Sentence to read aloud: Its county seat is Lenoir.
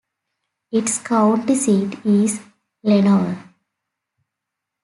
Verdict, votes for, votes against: accepted, 2, 0